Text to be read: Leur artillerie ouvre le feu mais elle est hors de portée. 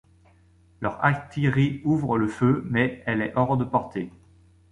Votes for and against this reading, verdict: 1, 2, rejected